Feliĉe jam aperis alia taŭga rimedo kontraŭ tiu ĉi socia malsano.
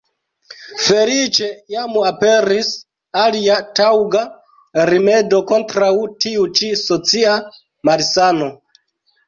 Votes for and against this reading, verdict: 1, 2, rejected